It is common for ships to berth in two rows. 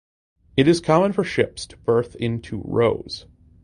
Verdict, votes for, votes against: accepted, 2, 0